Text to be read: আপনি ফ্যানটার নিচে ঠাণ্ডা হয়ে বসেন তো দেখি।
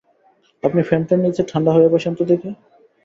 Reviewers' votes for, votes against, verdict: 2, 0, accepted